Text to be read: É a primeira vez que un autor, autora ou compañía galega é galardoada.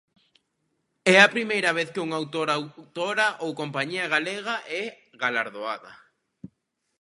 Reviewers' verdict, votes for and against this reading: accepted, 2, 0